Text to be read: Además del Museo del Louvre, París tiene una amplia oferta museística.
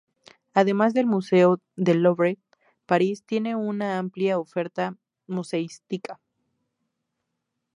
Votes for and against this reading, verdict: 2, 0, accepted